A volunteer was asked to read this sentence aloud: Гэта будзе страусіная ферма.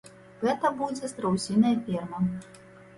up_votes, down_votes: 2, 0